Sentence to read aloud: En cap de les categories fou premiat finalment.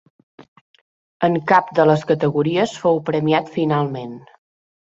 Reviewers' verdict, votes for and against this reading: accepted, 3, 1